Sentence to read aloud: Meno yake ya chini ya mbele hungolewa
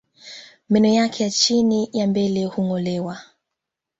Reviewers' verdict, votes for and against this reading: accepted, 3, 0